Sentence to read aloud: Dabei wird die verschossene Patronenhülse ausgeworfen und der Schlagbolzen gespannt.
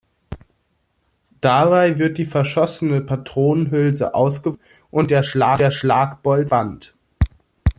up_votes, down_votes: 0, 2